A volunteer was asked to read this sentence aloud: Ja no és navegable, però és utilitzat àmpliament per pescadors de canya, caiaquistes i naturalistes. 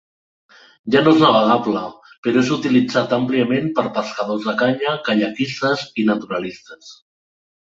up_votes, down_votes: 2, 0